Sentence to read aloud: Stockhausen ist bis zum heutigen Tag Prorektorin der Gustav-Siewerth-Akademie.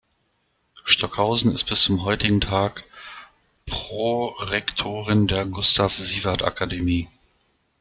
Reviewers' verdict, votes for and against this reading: rejected, 0, 2